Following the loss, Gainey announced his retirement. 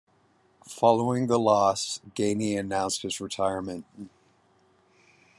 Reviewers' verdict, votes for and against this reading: rejected, 1, 2